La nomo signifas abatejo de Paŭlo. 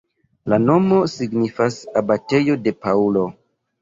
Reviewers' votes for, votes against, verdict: 1, 2, rejected